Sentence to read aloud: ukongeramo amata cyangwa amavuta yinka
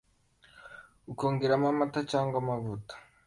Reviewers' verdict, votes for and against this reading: rejected, 1, 2